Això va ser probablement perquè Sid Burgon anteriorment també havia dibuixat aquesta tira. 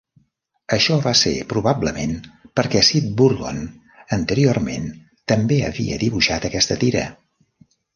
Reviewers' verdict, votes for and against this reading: accepted, 2, 0